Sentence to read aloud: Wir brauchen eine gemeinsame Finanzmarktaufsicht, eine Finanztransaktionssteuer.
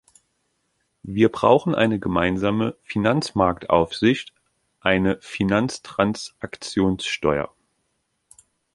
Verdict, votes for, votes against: accepted, 2, 0